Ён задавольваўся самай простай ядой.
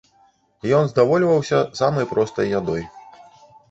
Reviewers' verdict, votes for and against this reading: rejected, 1, 2